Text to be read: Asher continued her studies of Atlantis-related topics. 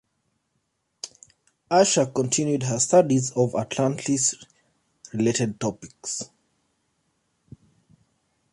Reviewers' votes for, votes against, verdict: 1, 2, rejected